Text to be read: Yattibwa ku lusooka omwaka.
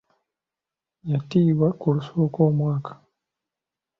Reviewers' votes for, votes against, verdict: 0, 2, rejected